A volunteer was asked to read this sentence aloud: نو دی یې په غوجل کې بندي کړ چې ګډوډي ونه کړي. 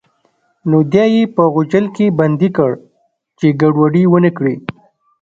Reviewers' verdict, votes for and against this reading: rejected, 1, 2